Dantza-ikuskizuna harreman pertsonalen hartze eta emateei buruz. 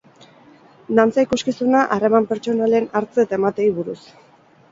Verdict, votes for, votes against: accepted, 4, 0